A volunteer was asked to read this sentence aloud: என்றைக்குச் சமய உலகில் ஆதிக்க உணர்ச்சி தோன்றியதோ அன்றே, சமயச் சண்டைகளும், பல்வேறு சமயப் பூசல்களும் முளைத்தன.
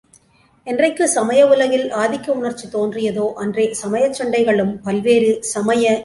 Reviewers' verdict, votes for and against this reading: rejected, 1, 2